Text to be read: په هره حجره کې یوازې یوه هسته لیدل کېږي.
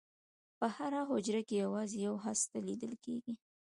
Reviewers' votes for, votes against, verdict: 2, 0, accepted